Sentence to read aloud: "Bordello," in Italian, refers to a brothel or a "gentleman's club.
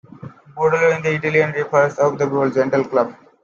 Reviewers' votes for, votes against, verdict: 0, 2, rejected